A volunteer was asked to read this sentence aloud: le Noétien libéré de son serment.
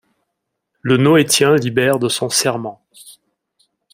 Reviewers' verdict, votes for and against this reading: accepted, 2, 0